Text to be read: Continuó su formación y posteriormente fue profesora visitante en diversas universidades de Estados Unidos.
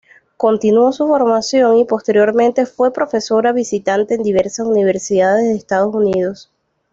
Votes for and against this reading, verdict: 2, 0, accepted